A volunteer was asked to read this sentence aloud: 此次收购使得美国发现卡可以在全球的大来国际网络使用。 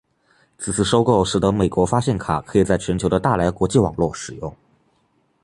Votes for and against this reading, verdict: 2, 0, accepted